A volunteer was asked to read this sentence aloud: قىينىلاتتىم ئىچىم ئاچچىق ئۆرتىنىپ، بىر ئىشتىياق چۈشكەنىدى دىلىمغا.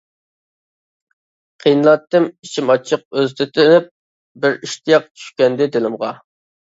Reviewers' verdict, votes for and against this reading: rejected, 0, 2